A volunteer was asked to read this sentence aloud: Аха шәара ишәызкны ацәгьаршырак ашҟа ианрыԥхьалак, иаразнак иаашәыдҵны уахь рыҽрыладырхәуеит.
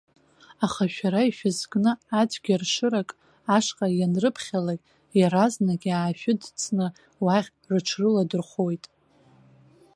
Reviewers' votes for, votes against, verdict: 2, 0, accepted